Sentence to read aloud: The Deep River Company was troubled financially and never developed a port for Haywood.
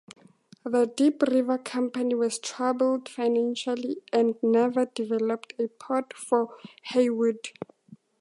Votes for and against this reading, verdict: 4, 0, accepted